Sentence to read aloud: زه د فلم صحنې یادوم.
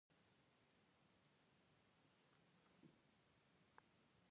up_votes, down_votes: 0, 2